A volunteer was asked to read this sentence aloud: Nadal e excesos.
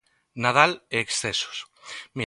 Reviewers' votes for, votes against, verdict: 0, 2, rejected